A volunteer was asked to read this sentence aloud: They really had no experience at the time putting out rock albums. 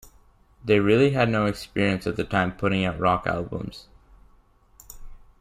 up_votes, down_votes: 2, 0